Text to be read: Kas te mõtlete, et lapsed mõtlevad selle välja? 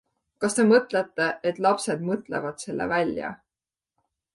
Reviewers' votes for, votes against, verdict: 2, 0, accepted